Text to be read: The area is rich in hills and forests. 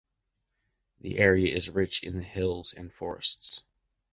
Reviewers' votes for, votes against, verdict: 2, 0, accepted